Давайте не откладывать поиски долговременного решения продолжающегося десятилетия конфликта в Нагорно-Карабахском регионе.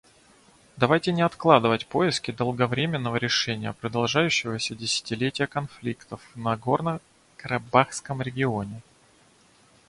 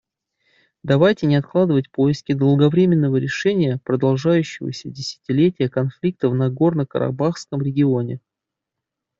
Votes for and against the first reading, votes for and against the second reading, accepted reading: 0, 2, 2, 0, second